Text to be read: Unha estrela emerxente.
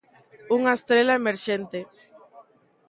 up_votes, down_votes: 0, 2